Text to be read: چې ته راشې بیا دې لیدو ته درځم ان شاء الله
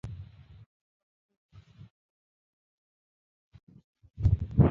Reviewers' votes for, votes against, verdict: 0, 2, rejected